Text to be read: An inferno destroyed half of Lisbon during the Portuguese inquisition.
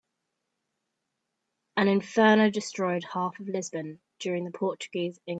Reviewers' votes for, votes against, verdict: 0, 2, rejected